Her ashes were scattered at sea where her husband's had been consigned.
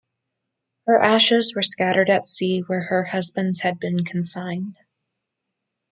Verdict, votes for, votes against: accepted, 2, 0